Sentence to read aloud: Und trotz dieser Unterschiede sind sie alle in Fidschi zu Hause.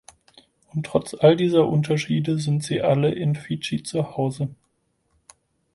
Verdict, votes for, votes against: rejected, 2, 4